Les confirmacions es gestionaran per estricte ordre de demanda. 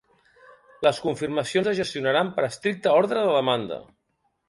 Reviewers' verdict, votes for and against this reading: accepted, 2, 0